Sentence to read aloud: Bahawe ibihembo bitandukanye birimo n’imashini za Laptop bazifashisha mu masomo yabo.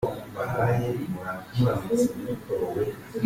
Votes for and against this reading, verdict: 0, 2, rejected